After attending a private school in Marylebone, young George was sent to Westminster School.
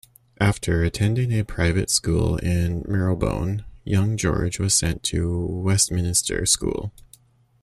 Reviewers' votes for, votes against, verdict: 0, 2, rejected